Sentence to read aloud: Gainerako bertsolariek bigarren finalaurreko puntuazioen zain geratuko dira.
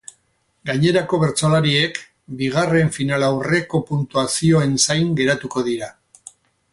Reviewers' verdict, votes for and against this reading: rejected, 0, 2